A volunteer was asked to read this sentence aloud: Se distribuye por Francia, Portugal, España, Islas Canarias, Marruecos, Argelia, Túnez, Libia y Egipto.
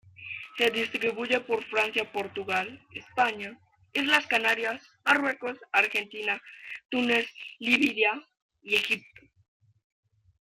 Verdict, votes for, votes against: accepted, 2, 0